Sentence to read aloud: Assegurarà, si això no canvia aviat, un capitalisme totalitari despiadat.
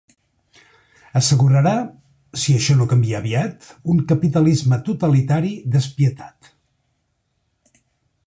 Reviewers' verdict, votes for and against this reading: rejected, 1, 2